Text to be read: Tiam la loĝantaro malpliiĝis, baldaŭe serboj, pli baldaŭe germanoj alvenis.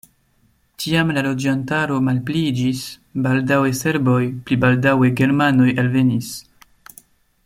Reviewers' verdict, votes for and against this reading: accepted, 2, 0